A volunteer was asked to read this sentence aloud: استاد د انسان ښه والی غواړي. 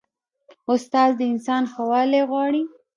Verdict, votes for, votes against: rejected, 1, 2